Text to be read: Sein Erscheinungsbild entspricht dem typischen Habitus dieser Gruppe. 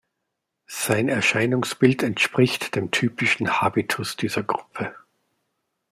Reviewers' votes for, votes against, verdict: 2, 0, accepted